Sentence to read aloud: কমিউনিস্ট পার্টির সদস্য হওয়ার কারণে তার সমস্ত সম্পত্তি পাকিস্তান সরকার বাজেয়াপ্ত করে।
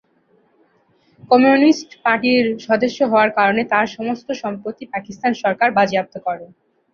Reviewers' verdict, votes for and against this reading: rejected, 1, 2